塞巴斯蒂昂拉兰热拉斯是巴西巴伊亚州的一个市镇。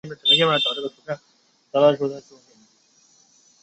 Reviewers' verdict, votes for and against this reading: rejected, 0, 2